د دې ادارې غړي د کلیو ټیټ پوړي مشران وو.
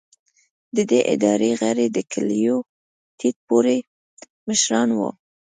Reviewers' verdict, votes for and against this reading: rejected, 1, 2